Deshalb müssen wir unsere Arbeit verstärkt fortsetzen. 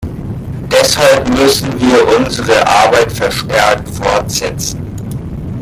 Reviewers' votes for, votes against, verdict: 2, 0, accepted